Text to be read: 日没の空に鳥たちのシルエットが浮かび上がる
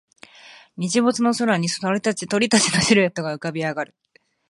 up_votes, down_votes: 1, 2